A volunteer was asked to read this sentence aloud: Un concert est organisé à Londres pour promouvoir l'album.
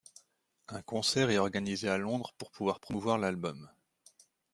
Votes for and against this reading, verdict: 0, 2, rejected